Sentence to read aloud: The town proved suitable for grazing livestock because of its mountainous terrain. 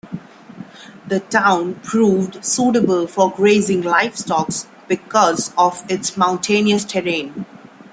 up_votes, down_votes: 2, 1